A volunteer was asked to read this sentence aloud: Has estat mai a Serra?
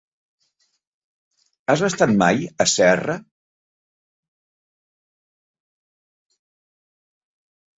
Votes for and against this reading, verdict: 3, 0, accepted